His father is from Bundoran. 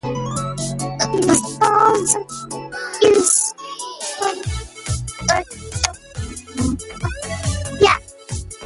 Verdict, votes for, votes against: rejected, 0, 2